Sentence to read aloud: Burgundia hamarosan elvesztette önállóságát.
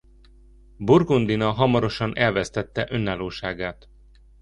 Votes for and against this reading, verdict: 0, 2, rejected